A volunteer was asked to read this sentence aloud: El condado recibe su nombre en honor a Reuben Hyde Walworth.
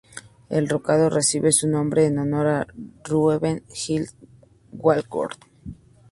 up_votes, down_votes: 0, 2